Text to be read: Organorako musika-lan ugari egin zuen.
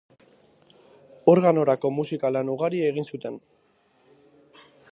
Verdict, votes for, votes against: rejected, 0, 2